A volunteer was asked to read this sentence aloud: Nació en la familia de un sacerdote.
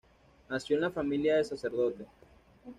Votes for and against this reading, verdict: 1, 2, rejected